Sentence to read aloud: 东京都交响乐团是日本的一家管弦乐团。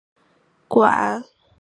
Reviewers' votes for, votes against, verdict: 1, 5, rejected